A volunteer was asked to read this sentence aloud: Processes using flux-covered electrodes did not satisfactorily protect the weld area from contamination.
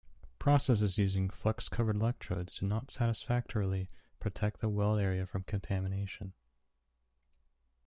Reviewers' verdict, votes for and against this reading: rejected, 1, 2